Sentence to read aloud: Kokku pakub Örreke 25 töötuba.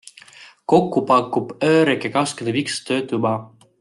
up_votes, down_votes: 0, 2